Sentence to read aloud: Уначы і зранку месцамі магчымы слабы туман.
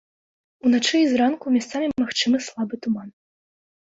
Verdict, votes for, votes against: rejected, 1, 2